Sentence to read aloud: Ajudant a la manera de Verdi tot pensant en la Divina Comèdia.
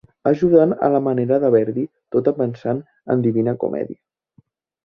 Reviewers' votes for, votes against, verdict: 0, 2, rejected